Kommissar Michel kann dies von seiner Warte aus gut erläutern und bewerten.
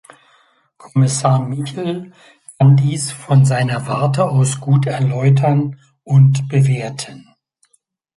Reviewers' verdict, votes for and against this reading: accepted, 2, 0